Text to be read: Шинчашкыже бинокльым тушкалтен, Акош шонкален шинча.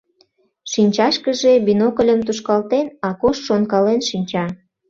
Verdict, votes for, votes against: rejected, 0, 2